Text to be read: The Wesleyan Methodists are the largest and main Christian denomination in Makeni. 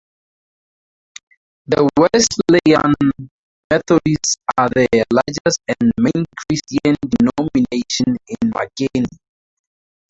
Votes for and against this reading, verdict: 0, 4, rejected